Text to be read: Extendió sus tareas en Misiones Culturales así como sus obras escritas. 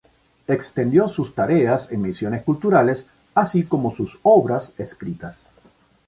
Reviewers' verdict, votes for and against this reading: accepted, 6, 0